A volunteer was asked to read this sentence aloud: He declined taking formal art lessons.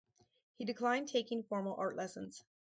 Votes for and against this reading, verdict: 4, 0, accepted